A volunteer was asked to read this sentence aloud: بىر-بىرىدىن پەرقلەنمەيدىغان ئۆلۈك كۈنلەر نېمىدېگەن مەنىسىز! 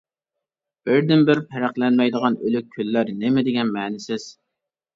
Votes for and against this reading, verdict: 0, 2, rejected